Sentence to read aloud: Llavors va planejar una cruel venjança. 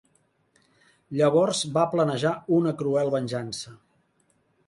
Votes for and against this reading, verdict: 3, 0, accepted